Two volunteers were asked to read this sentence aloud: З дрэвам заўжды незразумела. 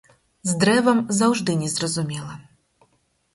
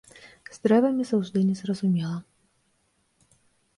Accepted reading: first